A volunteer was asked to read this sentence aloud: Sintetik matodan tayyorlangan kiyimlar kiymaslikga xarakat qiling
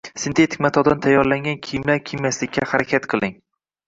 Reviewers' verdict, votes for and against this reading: rejected, 1, 2